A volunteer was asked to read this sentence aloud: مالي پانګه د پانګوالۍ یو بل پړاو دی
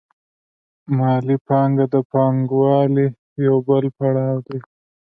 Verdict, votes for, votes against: accepted, 2, 0